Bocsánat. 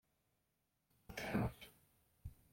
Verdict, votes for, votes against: rejected, 0, 2